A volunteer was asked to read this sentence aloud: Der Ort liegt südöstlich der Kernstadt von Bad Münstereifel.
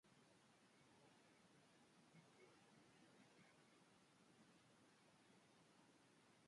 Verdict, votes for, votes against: rejected, 0, 2